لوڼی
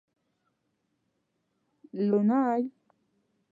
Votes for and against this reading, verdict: 0, 2, rejected